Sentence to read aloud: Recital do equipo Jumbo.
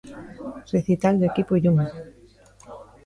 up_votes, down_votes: 0, 2